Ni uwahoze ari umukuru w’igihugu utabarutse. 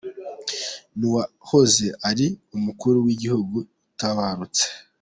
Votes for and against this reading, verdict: 2, 0, accepted